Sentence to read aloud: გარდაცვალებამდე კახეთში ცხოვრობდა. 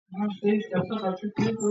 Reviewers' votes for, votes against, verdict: 0, 2, rejected